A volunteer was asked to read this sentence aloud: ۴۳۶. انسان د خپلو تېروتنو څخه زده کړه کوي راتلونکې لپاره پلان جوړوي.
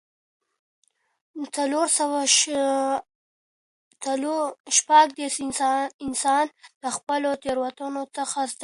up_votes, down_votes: 0, 2